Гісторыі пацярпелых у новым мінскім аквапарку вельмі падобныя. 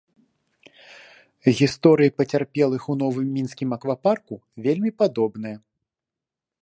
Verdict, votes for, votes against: accepted, 2, 0